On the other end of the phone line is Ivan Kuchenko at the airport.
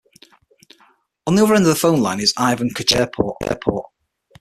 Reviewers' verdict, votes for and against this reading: rejected, 0, 6